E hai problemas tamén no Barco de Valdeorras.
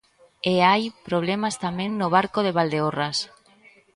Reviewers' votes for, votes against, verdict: 1, 2, rejected